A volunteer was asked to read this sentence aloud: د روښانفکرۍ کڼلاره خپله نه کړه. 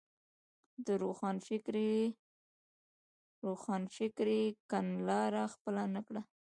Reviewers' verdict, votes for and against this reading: accepted, 2, 0